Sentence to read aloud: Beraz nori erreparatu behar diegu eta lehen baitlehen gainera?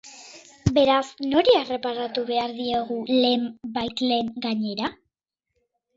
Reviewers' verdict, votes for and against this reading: rejected, 0, 2